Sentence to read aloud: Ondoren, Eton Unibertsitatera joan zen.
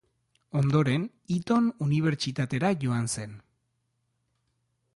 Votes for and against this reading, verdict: 2, 0, accepted